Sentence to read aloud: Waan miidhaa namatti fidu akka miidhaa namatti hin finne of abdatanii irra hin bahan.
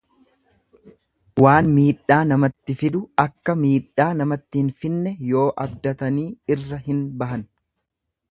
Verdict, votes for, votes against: rejected, 1, 2